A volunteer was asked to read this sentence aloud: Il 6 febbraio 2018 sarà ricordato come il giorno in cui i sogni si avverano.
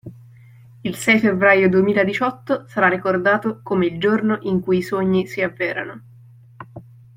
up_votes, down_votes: 0, 2